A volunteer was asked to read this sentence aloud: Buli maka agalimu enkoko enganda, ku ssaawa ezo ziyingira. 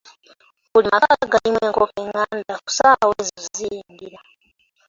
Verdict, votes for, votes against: rejected, 0, 2